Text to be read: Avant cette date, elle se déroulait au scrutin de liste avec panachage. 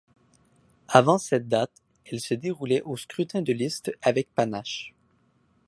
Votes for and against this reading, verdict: 0, 2, rejected